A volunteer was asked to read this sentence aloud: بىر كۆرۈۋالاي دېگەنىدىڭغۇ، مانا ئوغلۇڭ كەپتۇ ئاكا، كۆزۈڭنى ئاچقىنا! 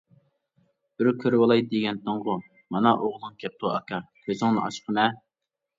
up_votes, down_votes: 0, 2